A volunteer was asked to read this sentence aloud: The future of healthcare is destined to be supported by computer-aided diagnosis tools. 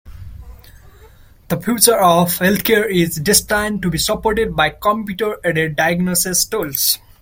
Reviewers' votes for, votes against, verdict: 0, 2, rejected